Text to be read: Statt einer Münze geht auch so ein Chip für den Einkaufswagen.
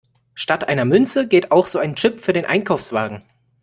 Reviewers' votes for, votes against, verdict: 2, 0, accepted